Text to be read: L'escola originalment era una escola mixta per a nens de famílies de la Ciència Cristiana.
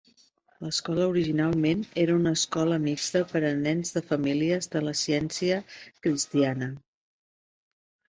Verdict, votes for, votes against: accepted, 2, 1